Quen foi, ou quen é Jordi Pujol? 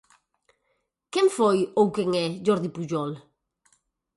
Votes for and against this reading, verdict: 4, 0, accepted